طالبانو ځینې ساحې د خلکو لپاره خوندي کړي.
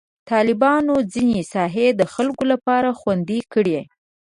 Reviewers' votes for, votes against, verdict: 2, 0, accepted